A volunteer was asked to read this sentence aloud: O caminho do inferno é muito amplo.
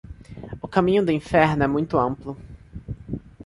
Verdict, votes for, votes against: accepted, 2, 0